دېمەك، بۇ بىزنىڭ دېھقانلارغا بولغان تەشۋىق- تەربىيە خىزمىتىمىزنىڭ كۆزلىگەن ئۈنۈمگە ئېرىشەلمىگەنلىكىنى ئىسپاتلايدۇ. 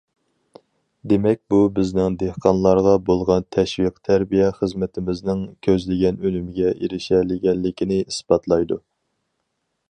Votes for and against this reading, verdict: 2, 2, rejected